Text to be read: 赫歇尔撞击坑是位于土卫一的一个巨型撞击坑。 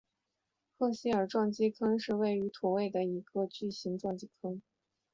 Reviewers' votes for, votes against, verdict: 0, 2, rejected